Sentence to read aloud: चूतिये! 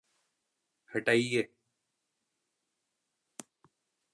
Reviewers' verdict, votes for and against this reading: rejected, 0, 2